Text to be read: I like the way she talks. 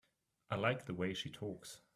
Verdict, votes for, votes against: accepted, 3, 0